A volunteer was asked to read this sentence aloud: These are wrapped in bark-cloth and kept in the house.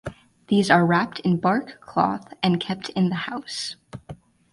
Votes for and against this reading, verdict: 4, 0, accepted